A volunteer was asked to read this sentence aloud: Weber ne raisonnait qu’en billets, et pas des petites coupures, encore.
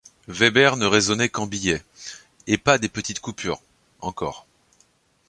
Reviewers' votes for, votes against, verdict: 2, 0, accepted